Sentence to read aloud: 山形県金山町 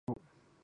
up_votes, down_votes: 0, 2